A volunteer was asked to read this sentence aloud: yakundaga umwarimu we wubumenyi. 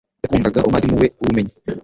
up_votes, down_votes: 1, 2